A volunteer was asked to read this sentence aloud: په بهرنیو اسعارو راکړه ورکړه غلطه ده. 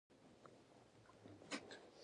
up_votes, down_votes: 0, 2